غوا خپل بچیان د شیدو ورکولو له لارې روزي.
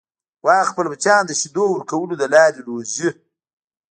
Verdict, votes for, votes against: rejected, 1, 2